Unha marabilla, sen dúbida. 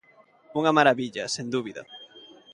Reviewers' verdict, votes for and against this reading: accepted, 2, 0